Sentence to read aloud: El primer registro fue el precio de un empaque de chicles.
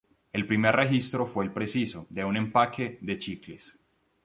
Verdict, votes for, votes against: rejected, 0, 2